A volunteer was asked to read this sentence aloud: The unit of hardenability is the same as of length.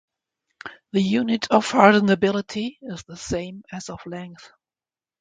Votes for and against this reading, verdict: 2, 0, accepted